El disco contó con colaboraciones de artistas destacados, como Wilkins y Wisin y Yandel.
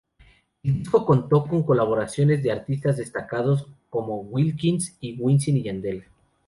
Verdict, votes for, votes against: rejected, 0, 2